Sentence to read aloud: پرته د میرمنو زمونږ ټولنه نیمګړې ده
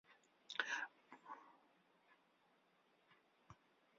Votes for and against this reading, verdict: 0, 2, rejected